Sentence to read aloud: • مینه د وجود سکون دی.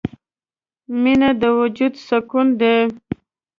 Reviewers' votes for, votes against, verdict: 2, 0, accepted